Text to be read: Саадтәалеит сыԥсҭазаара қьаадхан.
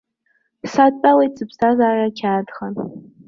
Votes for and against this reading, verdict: 0, 2, rejected